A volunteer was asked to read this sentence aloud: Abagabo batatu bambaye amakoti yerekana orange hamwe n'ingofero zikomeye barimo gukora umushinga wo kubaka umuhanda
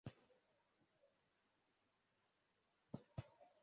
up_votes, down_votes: 0, 2